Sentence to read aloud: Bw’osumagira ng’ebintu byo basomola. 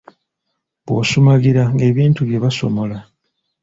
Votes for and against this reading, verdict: 2, 0, accepted